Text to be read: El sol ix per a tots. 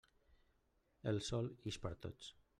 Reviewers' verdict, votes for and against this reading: rejected, 1, 2